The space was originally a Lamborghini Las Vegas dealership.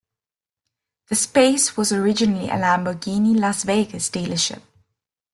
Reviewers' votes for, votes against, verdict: 2, 0, accepted